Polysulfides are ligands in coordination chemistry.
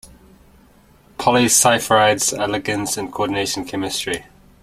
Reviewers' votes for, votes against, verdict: 1, 2, rejected